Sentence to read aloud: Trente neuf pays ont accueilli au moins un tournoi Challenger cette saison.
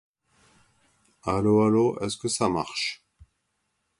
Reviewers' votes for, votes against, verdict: 0, 2, rejected